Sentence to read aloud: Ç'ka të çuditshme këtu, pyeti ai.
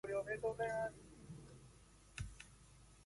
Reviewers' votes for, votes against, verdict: 0, 2, rejected